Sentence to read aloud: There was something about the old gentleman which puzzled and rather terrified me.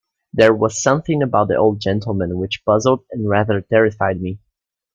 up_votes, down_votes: 2, 0